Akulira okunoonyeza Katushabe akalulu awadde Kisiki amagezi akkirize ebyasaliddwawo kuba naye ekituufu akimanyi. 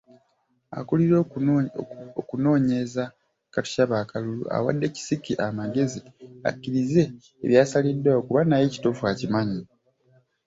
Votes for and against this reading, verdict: 0, 2, rejected